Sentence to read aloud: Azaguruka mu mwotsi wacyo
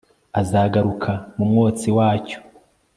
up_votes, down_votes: 2, 0